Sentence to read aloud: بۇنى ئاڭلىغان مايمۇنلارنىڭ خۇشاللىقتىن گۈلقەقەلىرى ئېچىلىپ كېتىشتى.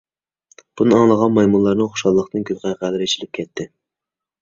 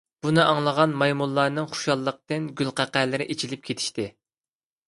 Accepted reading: second